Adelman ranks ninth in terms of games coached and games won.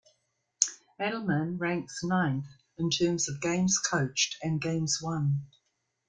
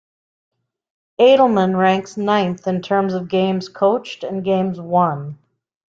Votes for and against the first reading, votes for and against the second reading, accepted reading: 1, 2, 2, 0, second